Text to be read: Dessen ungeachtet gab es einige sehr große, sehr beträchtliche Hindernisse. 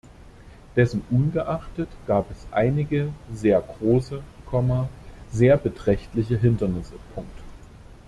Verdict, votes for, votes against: rejected, 0, 2